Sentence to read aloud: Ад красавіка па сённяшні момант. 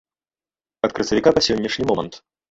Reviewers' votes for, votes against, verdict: 1, 2, rejected